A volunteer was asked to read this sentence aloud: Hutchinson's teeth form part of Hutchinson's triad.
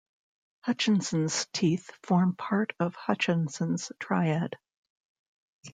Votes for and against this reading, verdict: 2, 0, accepted